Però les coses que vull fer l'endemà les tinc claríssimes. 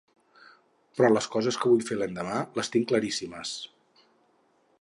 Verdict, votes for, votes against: accepted, 6, 0